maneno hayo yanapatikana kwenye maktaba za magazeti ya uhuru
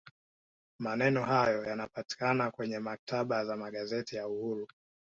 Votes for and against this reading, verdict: 2, 0, accepted